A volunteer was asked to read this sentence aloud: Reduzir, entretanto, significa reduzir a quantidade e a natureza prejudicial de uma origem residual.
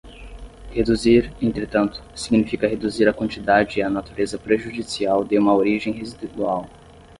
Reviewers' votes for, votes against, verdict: 5, 0, accepted